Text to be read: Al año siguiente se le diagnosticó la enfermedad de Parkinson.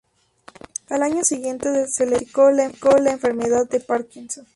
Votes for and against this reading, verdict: 0, 2, rejected